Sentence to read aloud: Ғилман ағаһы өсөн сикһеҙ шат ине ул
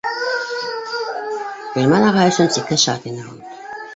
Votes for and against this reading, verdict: 1, 2, rejected